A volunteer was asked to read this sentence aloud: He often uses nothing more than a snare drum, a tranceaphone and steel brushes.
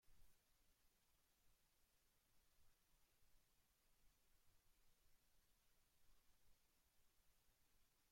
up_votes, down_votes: 0, 2